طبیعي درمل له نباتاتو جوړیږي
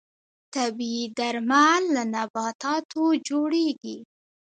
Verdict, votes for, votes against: accepted, 3, 0